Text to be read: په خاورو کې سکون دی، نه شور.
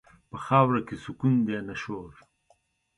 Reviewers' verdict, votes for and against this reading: accepted, 2, 1